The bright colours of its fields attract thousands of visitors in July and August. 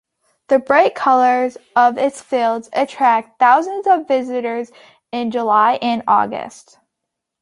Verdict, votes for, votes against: accepted, 3, 0